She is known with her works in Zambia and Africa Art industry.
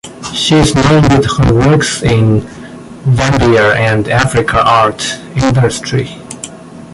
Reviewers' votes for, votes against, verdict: 0, 2, rejected